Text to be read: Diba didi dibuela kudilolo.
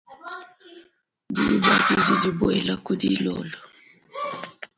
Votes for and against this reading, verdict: 0, 2, rejected